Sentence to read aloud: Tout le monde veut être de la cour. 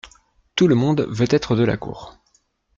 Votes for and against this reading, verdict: 2, 0, accepted